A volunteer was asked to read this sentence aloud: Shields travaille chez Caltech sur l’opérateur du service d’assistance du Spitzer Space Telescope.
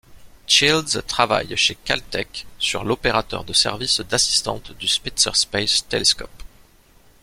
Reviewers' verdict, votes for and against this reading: rejected, 0, 2